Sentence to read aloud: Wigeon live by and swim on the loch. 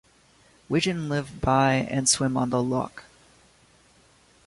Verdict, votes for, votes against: accepted, 2, 0